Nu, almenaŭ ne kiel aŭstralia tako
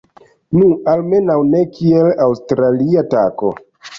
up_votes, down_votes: 1, 2